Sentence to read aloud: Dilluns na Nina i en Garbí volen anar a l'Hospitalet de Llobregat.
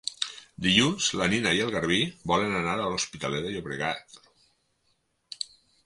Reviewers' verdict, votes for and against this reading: rejected, 2, 4